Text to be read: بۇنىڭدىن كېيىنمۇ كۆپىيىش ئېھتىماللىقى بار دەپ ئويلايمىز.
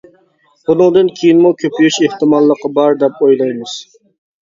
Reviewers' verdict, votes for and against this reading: accepted, 2, 0